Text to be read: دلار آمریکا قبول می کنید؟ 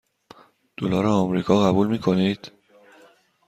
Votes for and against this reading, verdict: 2, 0, accepted